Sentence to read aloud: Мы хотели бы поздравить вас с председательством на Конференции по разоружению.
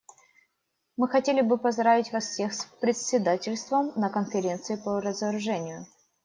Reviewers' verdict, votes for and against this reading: rejected, 0, 2